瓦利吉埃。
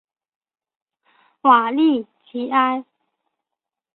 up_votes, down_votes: 3, 0